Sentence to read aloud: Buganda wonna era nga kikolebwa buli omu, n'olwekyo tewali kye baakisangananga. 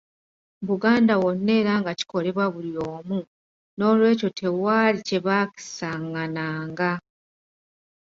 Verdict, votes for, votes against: accepted, 2, 0